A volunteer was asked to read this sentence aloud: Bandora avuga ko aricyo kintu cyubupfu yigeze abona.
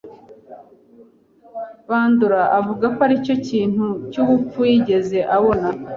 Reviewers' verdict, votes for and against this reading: accepted, 2, 0